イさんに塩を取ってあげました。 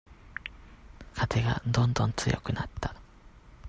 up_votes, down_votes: 0, 2